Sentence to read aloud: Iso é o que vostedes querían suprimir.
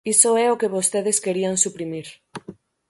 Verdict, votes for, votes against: accepted, 6, 0